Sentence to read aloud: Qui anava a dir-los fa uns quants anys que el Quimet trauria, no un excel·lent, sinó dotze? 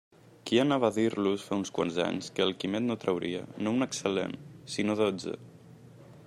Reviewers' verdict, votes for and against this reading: rejected, 1, 2